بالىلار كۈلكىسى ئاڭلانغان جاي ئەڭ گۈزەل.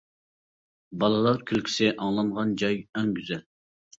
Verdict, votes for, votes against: accepted, 2, 0